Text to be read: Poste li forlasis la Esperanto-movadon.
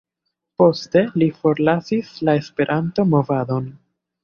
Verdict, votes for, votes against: accepted, 2, 1